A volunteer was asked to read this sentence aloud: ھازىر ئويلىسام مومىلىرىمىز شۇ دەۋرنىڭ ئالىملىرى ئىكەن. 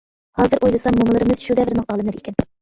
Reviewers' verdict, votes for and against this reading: rejected, 1, 2